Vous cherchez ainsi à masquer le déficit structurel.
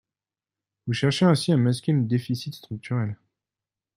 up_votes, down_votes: 1, 2